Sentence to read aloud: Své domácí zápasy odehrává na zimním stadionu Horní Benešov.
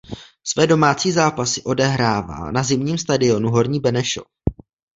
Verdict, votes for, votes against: rejected, 1, 2